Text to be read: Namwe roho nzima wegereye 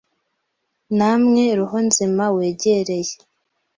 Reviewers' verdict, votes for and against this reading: accepted, 2, 0